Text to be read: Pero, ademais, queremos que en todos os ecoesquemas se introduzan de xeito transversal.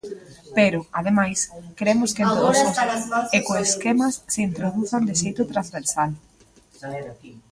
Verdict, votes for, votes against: rejected, 0, 2